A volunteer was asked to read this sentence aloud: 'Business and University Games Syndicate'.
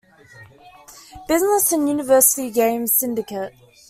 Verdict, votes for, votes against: accepted, 2, 0